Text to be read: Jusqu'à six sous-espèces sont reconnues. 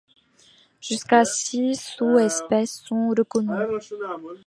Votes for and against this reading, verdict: 2, 0, accepted